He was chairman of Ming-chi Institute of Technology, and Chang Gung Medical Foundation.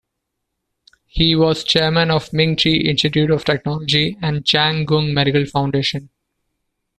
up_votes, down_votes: 2, 0